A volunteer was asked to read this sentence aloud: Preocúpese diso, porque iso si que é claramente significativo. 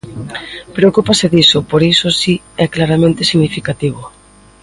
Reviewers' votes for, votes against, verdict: 0, 2, rejected